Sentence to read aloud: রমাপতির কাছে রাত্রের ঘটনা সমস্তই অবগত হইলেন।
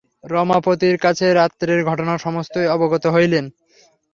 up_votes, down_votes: 3, 0